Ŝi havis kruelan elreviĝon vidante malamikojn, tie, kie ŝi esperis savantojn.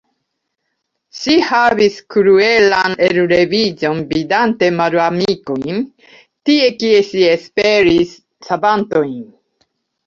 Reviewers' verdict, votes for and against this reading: rejected, 1, 2